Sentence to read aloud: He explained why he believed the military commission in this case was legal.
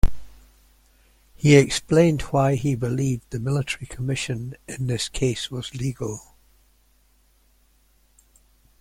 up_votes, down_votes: 3, 0